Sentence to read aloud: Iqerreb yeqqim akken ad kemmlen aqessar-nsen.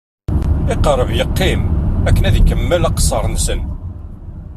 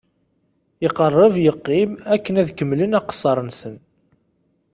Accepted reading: second